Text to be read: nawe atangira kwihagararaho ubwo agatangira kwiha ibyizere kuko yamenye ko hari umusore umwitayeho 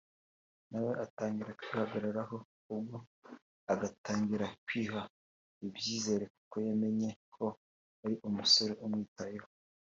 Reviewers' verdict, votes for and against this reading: accepted, 2, 1